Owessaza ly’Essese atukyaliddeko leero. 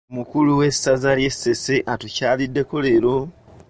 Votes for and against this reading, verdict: 2, 1, accepted